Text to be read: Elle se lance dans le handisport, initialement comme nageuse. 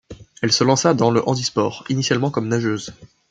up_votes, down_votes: 1, 2